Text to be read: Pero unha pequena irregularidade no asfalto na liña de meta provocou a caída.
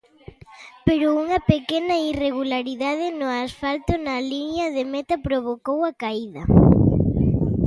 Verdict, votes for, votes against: rejected, 1, 2